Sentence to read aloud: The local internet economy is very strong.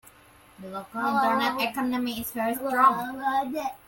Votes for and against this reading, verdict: 1, 2, rejected